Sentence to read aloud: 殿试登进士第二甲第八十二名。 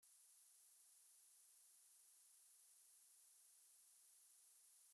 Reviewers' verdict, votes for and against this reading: rejected, 0, 2